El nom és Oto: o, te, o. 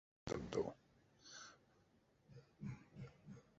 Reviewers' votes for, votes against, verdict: 1, 2, rejected